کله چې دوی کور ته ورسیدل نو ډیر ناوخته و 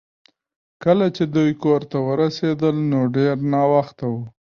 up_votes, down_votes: 0, 2